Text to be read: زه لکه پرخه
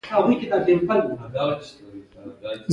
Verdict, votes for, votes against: accepted, 2, 1